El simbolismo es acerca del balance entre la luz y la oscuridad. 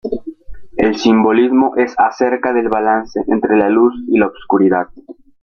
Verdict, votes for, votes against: rejected, 0, 2